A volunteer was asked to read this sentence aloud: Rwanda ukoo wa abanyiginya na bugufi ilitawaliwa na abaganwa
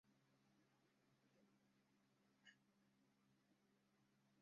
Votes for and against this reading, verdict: 0, 2, rejected